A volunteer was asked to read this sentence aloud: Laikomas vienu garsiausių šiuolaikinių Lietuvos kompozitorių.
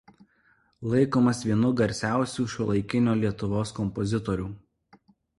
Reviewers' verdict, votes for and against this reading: rejected, 1, 2